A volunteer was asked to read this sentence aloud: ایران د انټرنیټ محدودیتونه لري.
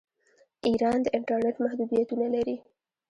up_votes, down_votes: 1, 2